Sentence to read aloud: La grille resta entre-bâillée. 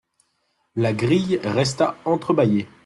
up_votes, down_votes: 2, 0